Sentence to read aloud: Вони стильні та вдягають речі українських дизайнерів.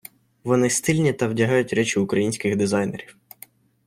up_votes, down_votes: 2, 0